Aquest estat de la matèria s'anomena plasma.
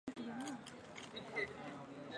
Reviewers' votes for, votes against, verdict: 0, 4, rejected